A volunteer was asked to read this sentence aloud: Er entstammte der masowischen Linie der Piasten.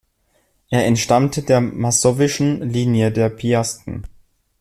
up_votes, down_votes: 2, 1